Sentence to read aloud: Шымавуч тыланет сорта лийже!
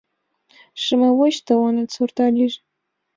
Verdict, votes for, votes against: accepted, 5, 2